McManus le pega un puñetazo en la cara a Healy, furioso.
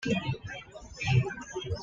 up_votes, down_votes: 1, 2